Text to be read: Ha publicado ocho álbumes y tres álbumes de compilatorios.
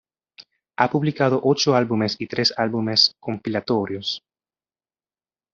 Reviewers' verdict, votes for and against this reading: rejected, 0, 2